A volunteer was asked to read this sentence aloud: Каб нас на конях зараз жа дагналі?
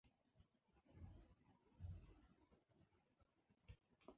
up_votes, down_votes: 0, 2